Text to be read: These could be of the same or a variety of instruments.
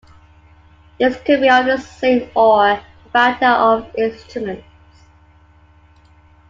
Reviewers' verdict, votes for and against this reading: rejected, 1, 2